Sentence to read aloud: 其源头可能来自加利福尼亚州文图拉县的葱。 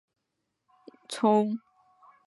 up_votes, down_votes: 0, 2